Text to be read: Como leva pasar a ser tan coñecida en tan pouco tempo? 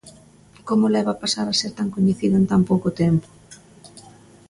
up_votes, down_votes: 2, 0